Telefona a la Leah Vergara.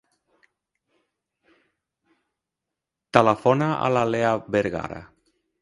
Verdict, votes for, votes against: rejected, 0, 2